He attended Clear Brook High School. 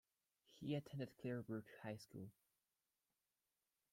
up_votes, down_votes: 2, 1